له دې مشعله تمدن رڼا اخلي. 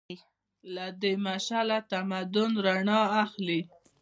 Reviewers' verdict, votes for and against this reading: rejected, 1, 2